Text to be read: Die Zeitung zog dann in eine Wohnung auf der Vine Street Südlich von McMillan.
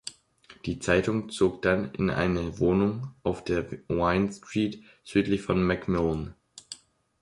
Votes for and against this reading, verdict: 1, 2, rejected